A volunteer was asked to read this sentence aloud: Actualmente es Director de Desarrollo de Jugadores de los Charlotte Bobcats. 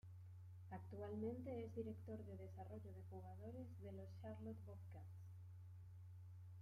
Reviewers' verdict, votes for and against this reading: rejected, 0, 2